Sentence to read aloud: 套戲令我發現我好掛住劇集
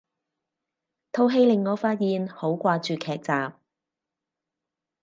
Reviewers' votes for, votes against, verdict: 2, 4, rejected